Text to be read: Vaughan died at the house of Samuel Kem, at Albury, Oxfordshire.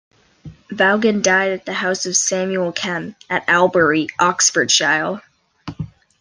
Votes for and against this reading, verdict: 0, 2, rejected